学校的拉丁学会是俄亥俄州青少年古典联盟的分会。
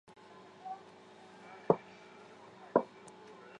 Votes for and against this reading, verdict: 0, 2, rejected